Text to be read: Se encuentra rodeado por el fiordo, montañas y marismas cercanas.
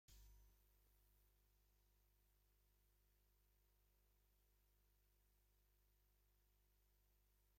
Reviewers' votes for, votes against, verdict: 0, 2, rejected